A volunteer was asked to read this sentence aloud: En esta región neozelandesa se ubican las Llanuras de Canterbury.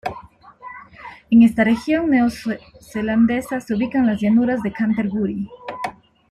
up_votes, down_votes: 1, 2